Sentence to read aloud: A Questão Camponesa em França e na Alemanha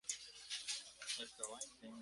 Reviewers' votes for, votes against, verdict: 0, 2, rejected